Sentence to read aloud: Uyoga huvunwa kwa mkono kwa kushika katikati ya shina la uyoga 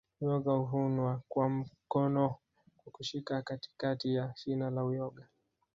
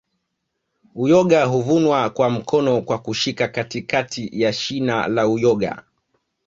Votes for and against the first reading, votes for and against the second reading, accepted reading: 3, 1, 1, 2, first